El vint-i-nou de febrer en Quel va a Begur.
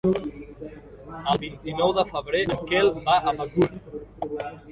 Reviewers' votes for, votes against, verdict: 2, 1, accepted